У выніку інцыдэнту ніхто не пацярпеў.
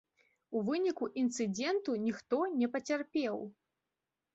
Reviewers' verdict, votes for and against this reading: rejected, 1, 3